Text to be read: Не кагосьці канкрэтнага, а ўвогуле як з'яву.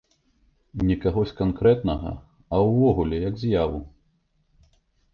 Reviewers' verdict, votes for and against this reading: rejected, 2, 3